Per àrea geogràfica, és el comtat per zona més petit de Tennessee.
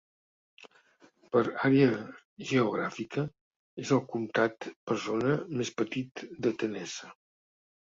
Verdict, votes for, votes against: rejected, 0, 2